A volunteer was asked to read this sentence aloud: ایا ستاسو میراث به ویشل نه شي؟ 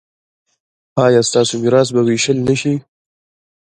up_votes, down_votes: 0, 2